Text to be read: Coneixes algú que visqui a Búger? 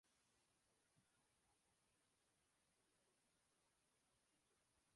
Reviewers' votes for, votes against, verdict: 0, 2, rejected